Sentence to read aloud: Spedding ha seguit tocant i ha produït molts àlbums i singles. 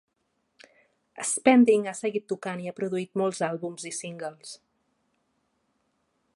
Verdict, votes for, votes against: rejected, 0, 2